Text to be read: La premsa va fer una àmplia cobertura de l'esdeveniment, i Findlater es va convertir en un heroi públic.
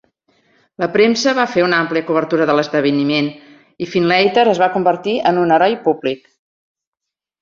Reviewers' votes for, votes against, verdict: 3, 0, accepted